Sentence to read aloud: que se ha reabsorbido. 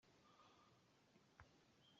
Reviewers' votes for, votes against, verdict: 0, 2, rejected